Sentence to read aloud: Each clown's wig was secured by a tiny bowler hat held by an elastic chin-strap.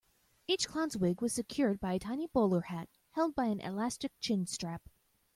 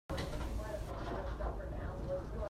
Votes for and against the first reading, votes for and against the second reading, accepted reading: 2, 0, 0, 2, first